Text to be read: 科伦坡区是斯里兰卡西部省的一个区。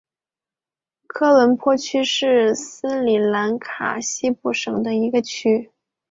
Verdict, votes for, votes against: accepted, 5, 0